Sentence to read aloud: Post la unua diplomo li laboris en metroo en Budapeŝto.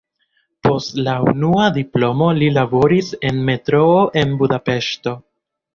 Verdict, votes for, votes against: accepted, 2, 0